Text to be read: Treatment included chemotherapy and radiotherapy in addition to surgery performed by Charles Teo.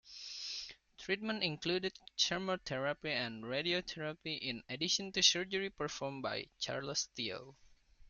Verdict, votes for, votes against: rejected, 0, 2